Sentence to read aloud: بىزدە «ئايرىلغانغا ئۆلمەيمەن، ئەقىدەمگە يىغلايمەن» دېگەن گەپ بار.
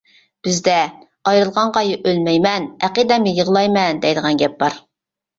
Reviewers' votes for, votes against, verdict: 0, 2, rejected